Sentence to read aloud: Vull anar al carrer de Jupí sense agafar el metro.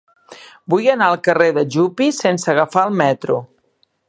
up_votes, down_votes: 2, 3